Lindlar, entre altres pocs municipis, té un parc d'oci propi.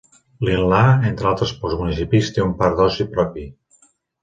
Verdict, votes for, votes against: accepted, 2, 1